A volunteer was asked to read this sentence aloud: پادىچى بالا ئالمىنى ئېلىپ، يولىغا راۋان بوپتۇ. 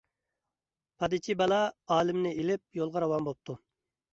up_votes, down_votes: 1, 2